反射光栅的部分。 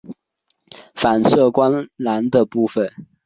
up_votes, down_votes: 4, 1